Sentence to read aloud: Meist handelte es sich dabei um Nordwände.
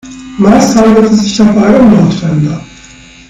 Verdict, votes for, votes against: rejected, 1, 2